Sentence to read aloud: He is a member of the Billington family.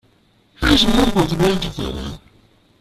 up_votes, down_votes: 0, 2